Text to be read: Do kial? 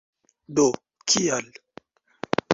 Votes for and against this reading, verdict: 2, 1, accepted